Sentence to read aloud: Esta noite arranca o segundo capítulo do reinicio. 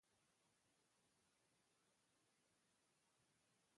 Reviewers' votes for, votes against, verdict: 0, 2, rejected